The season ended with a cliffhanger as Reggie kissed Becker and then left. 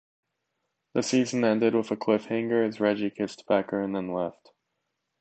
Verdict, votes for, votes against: accepted, 2, 0